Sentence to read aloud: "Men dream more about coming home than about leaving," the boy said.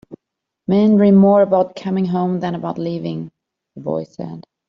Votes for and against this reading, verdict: 2, 0, accepted